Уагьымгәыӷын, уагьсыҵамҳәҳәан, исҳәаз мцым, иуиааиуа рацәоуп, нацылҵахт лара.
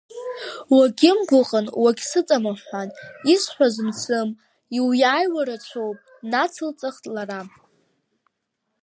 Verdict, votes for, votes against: rejected, 1, 2